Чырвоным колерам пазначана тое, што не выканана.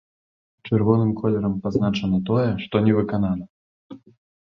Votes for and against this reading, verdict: 1, 2, rejected